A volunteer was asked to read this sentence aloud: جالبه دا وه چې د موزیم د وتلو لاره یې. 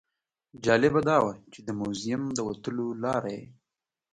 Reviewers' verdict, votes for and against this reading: accepted, 2, 0